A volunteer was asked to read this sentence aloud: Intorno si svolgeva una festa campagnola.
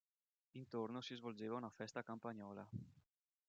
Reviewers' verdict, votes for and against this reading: rejected, 0, 2